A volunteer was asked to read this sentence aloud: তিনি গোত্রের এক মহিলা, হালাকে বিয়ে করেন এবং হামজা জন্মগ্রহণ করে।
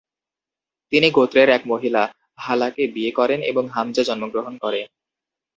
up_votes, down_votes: 2, 0